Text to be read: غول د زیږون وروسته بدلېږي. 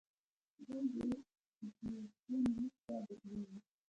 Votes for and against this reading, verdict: 1, 2, rejected